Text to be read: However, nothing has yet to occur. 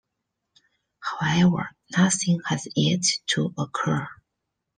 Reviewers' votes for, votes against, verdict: 2, 1, accepted